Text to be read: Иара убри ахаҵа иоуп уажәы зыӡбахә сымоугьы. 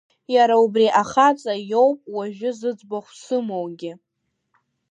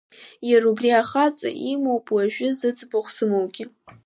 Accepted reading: first